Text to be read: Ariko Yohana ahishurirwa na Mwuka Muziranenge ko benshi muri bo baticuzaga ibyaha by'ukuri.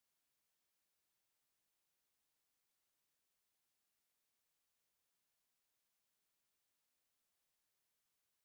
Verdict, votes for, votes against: rejected, 0, 2